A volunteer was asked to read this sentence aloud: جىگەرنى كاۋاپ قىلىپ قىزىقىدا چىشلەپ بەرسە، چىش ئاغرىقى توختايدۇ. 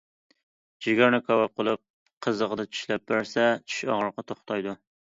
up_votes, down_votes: 2, 0